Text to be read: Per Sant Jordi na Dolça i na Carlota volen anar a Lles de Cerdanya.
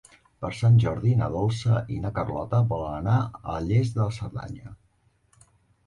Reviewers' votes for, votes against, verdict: 1, 2, rejected